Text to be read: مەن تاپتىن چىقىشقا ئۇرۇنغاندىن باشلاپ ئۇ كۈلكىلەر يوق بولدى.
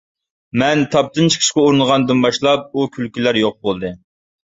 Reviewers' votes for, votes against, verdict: 2, 0, accepted